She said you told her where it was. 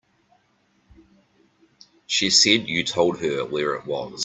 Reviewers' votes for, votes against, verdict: 1, 2, rejected